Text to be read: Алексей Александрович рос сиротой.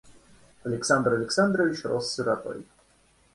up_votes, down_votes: 1, 2